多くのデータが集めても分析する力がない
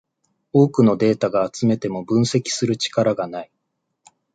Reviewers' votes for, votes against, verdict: 2, 0, accepted